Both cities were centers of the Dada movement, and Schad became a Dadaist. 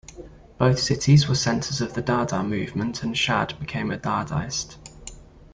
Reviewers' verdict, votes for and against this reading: rejected, 1, 2